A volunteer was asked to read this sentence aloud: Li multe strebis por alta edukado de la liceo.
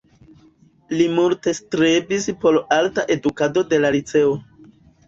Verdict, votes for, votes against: rejected, 1, 2